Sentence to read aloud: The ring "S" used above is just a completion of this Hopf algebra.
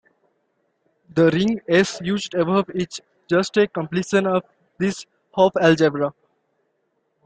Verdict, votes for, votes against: accepted, 2, 1